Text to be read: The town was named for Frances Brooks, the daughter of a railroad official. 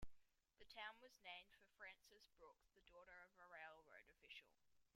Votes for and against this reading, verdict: 2, 0, accepted